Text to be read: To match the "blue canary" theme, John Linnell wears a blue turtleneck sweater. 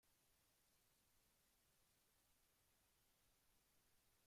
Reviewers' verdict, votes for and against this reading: rejected, 0, 2